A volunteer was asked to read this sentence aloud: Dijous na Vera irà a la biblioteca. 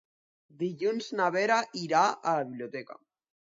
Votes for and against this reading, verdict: 0, 2, rejected